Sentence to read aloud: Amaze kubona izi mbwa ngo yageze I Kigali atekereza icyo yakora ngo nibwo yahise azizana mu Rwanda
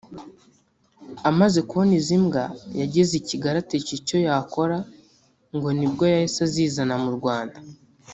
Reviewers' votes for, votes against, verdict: 2, 3, rejected